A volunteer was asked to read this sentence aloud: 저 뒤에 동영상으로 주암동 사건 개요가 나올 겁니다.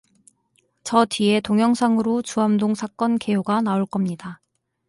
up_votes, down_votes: 4, 0